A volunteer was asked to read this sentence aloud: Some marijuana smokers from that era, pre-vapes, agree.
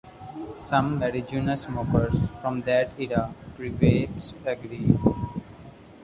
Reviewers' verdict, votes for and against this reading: rejected, 0, 2